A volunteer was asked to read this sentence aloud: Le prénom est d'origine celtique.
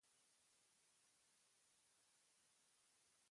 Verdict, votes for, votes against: rejected, 0, 2